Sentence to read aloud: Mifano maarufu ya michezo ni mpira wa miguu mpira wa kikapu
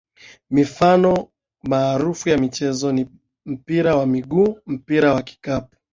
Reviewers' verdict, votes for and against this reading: accepted, 2, 0